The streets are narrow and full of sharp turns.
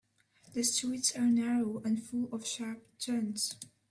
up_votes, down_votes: 0, 2